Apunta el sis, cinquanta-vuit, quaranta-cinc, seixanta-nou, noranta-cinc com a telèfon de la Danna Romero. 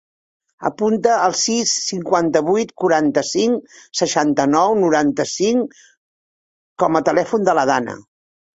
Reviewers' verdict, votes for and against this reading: rejected, 0, 2